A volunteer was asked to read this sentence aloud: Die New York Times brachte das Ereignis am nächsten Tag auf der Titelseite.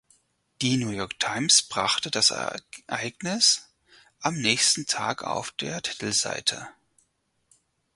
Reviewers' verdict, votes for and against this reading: rejected, 2, 4